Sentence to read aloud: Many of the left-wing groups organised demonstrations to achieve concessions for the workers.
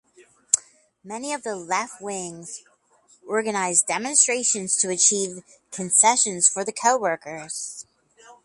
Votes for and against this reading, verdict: 2, 4, rejected